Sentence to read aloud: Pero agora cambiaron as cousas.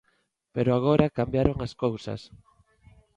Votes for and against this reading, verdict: 2, 0, accepted